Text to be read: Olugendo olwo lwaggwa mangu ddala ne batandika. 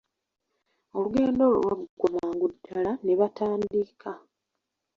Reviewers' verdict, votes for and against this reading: rejected, 0, 2